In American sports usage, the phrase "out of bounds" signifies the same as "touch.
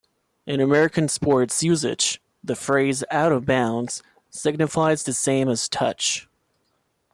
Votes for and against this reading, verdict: 2, 0, accepted